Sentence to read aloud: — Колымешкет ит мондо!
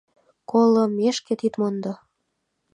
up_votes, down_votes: 2, 0